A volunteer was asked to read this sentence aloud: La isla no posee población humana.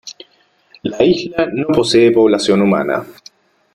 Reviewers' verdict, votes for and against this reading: accepted, 3, 1